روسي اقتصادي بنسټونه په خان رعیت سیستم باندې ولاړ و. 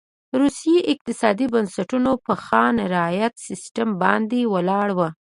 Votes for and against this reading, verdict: 2, 0, accepted